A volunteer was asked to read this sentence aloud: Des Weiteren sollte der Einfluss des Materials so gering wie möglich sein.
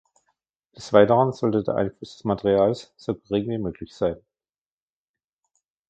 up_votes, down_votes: 2, 1